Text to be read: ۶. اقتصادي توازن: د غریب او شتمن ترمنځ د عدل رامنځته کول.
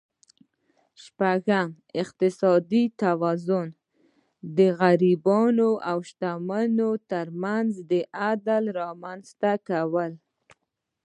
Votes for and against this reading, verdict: 0, 2, rejected